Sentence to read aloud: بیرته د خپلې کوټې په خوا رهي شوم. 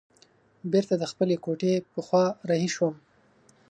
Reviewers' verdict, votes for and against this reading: accepted, 3, 0